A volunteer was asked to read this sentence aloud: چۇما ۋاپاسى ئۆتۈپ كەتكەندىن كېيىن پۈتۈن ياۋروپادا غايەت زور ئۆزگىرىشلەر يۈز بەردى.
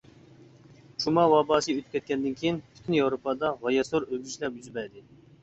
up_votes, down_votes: 0, 2